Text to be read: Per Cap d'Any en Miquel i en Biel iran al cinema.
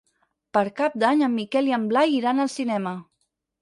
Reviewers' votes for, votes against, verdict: 0, 4, rejected